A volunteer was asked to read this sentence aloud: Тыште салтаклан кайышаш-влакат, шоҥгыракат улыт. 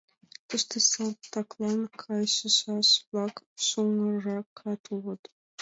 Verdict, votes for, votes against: rejected, 0, 2